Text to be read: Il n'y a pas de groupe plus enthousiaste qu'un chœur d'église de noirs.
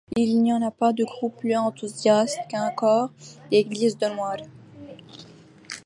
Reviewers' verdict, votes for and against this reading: rejected, 0, 2